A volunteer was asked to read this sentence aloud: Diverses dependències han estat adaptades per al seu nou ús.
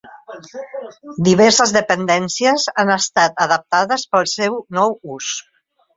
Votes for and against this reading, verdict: 0, 2, rejected